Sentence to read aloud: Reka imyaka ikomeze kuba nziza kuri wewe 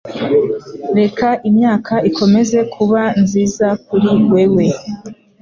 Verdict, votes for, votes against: accepted, 2, 0